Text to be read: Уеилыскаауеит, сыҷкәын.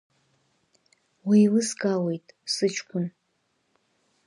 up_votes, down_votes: 2, 0